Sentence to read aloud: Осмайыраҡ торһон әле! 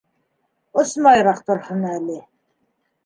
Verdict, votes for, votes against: rejected, 1, 2